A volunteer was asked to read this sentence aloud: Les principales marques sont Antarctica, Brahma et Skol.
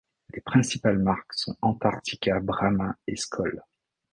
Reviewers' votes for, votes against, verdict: 2, 0, accepted